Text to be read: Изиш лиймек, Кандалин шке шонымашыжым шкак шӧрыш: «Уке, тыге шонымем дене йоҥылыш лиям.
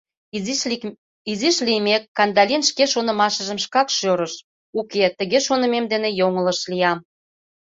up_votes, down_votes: 0, 2